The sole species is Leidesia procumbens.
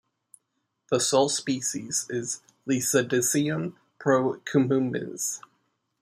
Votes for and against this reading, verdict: 0, 2, rejected